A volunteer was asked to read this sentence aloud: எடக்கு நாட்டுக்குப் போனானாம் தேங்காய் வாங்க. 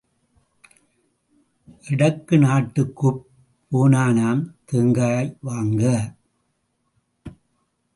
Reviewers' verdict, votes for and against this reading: rejected, 0, 2